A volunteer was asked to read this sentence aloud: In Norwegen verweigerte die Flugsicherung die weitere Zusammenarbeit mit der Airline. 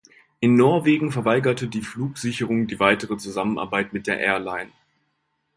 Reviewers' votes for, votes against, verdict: 2, 0, accepted